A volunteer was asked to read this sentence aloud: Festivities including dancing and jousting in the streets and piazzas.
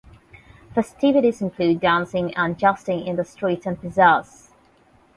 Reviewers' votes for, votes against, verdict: 0, 8, rejected